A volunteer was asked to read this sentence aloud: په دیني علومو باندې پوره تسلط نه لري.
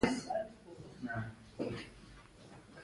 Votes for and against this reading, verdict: 2, 1, accepted